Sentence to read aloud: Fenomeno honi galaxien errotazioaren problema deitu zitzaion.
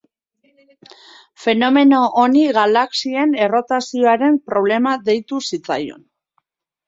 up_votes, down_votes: 2, 1